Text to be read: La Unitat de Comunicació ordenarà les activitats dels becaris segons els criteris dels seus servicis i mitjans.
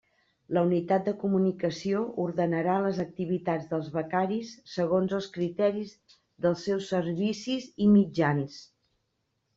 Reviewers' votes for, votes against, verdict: 3, 1, accepted